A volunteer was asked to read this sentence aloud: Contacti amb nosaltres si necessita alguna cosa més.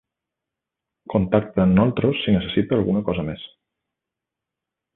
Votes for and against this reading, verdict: 1, 2, rejected